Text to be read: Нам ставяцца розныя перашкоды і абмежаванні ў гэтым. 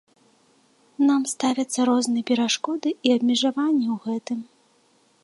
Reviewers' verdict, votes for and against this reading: accepted, 3, 0